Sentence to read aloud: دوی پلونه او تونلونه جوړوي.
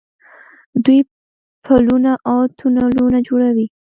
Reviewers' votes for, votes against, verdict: 2, 0, accepted